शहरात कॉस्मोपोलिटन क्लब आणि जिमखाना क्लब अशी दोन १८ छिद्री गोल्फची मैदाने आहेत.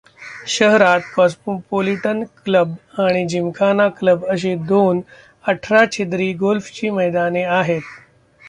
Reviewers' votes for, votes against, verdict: 0, 2, rejected